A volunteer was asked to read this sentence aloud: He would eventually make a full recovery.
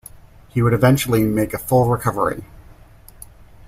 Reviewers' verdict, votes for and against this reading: accepted, 2, 0